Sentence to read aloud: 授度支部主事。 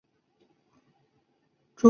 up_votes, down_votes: 0, 2